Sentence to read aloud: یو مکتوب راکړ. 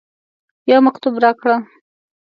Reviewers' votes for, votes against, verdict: 2, 0, accepted